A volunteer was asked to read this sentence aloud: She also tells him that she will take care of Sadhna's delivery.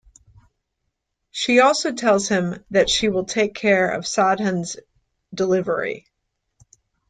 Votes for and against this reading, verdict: 1, 2, rejected